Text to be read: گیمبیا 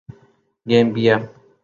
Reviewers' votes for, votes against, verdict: 13, 0, accepted